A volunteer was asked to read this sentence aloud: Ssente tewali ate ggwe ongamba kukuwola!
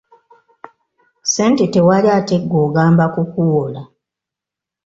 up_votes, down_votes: 2, 1